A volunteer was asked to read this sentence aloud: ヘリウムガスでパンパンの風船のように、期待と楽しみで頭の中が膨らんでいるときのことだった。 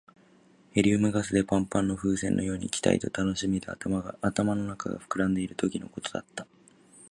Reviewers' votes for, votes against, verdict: 1, 2, rejected